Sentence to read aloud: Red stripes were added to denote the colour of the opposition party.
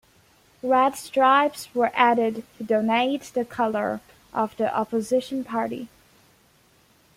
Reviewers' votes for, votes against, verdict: 1, 2, rejected